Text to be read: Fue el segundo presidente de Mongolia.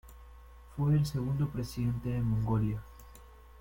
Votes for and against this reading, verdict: 0, 2, rejected